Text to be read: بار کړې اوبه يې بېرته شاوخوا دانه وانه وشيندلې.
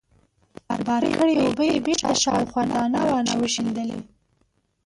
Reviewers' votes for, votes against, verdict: 0, 2, rejected